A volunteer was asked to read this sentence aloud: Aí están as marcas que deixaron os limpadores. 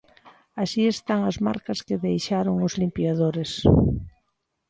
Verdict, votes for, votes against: rejected, 0, 2